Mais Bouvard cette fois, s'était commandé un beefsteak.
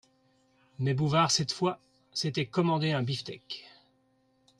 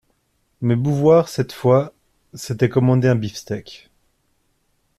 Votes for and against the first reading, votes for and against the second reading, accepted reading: 2, 0, 0, 2, first